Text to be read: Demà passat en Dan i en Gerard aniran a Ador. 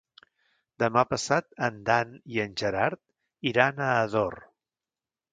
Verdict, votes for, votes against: rejected, 0, 2